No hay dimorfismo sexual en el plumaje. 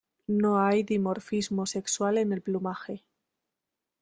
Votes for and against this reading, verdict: 2, 1, accepted